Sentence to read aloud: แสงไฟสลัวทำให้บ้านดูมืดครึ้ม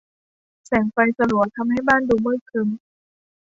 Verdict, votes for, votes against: accepted, 2, 0